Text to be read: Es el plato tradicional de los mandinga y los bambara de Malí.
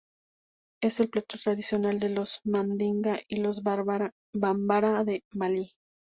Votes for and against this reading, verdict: 0, 2, rejected